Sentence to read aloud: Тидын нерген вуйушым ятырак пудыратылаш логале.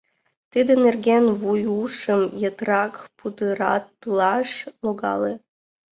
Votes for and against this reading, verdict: 0, 2, rejected